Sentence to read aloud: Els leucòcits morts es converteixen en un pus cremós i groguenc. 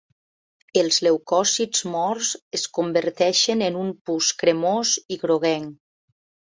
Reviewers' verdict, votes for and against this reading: accepted, 2, 0